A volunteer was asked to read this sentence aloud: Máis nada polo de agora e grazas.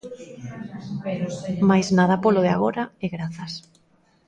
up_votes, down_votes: 1, 2